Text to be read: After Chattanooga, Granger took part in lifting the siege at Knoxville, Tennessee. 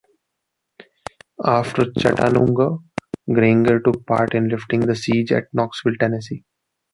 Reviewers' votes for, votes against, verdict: 1, 2, rejected